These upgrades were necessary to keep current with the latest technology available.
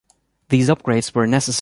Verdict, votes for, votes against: rejected, 0, 2